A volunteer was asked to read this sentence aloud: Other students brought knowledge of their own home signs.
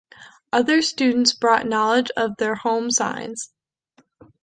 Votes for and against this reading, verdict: 1, 2, rejected